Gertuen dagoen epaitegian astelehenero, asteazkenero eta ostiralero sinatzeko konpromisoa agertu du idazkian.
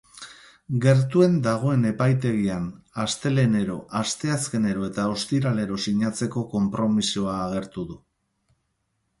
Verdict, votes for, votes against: rejected, 2, 2